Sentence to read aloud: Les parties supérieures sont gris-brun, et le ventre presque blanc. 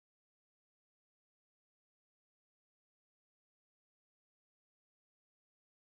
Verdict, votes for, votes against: rejected, 1, 2